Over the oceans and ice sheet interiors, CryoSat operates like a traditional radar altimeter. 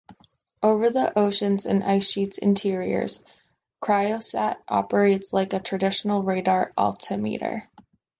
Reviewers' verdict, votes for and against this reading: accepted, 2, 1